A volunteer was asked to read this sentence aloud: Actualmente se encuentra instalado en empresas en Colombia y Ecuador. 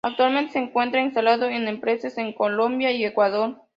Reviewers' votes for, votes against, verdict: 2, 0, accepted